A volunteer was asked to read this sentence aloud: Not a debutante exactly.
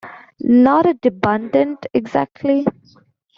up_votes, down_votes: 1, 2